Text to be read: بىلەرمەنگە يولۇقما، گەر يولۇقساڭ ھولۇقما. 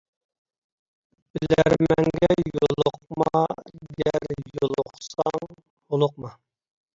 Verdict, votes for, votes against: rejected, 0, 2